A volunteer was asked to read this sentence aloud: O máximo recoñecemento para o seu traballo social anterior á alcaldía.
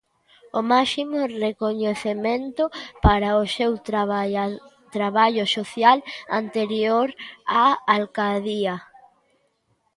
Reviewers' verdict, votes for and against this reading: rejected, 0, 2